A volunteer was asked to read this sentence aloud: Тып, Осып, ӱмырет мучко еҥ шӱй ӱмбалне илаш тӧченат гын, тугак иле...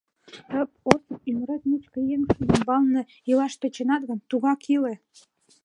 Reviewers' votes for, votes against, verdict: 2, 0, accepted